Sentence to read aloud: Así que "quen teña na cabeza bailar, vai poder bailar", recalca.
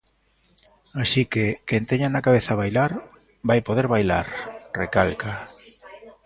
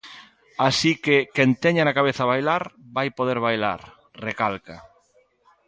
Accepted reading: first